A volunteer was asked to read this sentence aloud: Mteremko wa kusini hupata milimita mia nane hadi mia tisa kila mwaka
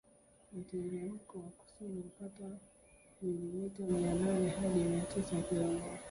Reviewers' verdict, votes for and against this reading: rejected, 0, 2